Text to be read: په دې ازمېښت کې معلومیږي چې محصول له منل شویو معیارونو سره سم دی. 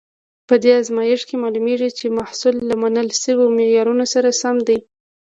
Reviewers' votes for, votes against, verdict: 1, 2, rejected